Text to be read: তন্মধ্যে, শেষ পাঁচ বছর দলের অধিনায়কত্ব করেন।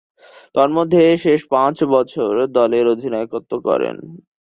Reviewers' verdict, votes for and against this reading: accepted, 2, 0